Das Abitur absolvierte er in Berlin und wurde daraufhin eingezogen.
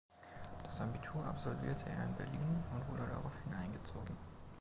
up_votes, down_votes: 0, 2